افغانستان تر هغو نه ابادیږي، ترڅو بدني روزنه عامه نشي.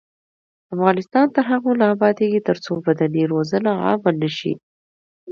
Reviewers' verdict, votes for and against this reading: accepted, 2, 0